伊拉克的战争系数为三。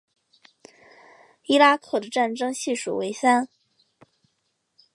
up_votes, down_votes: 4, 0